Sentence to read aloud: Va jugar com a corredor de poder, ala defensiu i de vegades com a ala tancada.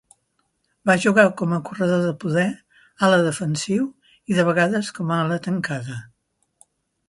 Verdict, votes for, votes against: accepted, 3, 0